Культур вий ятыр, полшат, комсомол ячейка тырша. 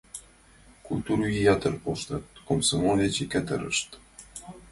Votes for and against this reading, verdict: 0, 2, rejected